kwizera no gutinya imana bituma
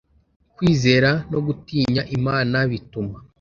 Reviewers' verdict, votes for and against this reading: accepted, 2, 0